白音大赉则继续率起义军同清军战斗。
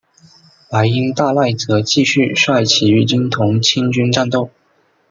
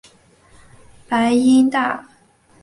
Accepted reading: first